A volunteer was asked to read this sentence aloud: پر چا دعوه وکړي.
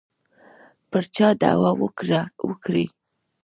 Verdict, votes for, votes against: rejected, 0, 2